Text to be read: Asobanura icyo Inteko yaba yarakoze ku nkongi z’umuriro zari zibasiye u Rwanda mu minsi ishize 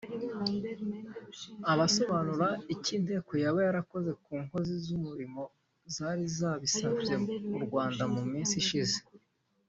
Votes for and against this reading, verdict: 0, 2, rejected